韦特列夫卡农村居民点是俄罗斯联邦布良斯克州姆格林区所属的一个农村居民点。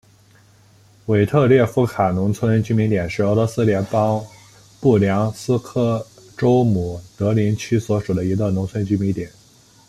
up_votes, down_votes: 2, 0